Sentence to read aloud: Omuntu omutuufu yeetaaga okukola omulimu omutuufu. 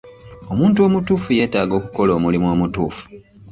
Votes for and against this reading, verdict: 1, 2, rejected